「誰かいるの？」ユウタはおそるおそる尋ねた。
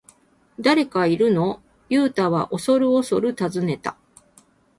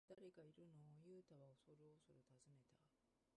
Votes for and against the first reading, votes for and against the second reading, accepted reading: 6, 0, 1, 2, first